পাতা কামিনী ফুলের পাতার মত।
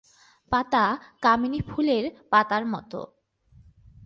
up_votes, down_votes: 2, 0